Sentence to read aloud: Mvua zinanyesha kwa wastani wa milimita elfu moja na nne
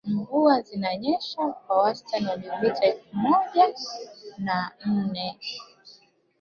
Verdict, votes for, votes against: rejected, 3, 4